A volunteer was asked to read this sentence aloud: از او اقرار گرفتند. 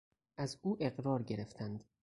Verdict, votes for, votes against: accepted, 4, 0